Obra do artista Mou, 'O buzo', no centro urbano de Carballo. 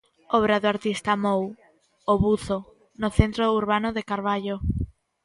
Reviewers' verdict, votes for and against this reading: accepted, 2, 0